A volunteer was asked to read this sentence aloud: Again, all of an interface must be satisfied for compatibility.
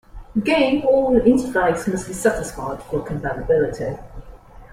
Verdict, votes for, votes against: rejected, 1, 2